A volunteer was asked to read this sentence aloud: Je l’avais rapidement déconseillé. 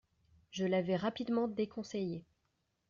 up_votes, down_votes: 2, 0